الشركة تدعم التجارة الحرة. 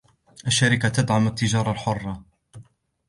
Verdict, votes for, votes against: accepted, 2, 0